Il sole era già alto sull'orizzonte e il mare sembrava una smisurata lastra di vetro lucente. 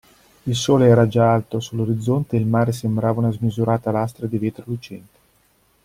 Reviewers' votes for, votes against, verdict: 2, 0, accepted